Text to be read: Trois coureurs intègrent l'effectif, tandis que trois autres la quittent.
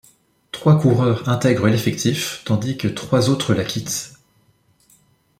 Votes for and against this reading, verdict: 2, 0, accepted